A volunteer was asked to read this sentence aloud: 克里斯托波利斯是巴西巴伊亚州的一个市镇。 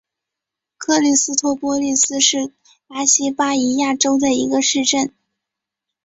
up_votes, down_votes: 3, 0